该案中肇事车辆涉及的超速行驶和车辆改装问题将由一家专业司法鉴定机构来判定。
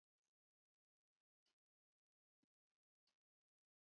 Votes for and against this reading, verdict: 0, 2, rejected